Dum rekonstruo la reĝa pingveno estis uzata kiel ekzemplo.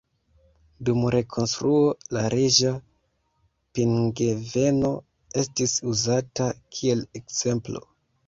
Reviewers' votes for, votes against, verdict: 0, 2, rejected